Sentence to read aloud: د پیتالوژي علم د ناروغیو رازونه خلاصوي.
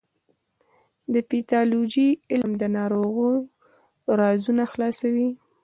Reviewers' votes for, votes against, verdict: 2, 0, accepted